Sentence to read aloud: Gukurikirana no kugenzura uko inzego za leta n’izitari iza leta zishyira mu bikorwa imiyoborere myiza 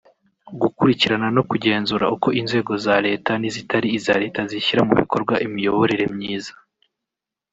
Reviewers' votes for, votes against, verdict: 1, 2, rejected